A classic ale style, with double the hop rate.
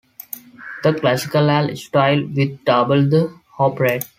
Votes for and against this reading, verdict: 1, 2, rejected